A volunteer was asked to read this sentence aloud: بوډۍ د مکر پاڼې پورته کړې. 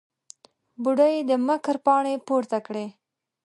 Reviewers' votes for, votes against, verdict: 4, 0, accepted